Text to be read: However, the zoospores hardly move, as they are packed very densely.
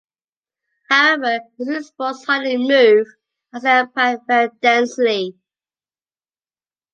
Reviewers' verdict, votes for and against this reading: rejected, 0, 2